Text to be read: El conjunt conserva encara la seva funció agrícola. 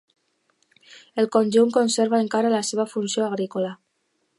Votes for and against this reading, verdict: 2, 0, accepted